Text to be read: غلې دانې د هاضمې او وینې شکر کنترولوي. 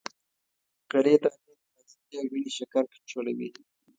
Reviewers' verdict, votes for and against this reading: rejected, 1, 2